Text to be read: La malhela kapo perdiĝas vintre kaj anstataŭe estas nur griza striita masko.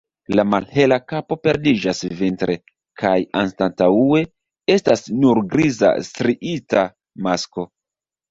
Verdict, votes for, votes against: rejected, 0, 2